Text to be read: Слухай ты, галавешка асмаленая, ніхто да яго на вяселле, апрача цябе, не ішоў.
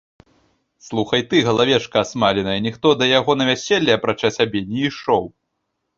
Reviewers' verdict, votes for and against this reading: rejected, 1, 2